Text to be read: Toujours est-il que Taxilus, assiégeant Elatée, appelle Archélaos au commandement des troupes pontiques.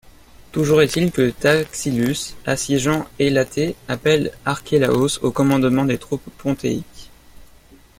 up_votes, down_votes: 1, 2